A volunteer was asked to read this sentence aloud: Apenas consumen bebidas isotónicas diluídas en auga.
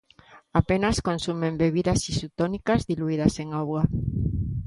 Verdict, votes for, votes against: rejected, 0, 2